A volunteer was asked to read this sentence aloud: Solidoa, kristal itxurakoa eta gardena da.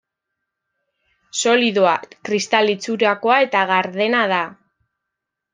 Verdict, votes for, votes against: rejected, 1, 2